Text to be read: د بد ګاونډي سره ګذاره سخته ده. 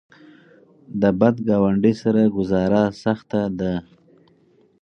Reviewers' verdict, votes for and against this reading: accepted, 4, 0